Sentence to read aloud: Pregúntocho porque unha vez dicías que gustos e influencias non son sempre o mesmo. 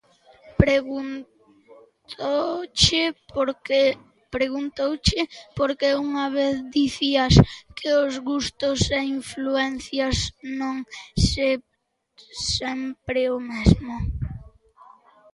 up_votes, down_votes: 0, 2